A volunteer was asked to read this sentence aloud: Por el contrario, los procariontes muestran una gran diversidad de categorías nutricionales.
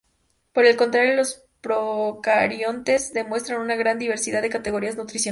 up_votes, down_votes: 0, 2